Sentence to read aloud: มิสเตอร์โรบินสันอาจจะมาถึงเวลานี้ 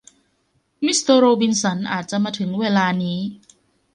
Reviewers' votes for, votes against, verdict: 2, 0, accepted